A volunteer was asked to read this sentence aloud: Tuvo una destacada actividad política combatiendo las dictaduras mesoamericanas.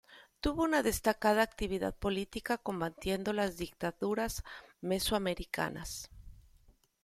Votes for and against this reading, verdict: 2, 0, accepted